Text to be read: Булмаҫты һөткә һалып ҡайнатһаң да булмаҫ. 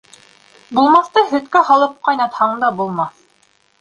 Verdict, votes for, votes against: rejected, 1, 2